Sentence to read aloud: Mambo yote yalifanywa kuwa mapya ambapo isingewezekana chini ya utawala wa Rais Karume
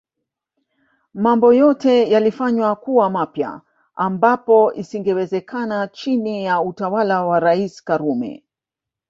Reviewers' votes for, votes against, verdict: 1, 2, rejected